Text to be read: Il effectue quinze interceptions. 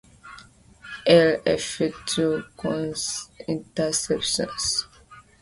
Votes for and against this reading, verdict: 2, 1, accepted